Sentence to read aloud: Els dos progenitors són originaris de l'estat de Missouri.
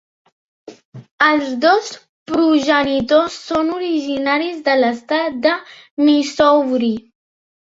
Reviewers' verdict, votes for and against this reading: rejected, 0, 2